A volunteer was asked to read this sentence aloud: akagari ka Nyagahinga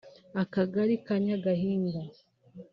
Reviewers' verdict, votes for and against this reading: accepted, 2, 0